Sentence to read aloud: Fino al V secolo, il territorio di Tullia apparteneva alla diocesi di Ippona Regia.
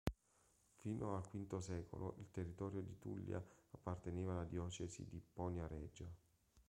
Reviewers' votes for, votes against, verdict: 0, 2, rejected